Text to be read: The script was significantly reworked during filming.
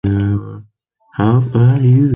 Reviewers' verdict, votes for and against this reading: rejected, 0, 2